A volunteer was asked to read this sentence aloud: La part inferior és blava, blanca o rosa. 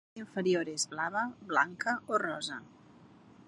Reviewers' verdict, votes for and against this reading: rejected, 1, 2